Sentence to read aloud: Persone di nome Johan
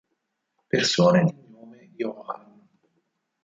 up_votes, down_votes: 2, 4